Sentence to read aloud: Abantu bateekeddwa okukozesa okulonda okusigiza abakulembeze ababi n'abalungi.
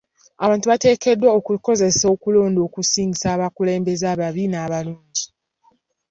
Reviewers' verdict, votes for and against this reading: rejected, 1, 2